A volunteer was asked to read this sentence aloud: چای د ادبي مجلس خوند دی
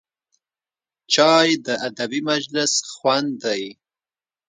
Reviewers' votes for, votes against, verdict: 2, 0, accepted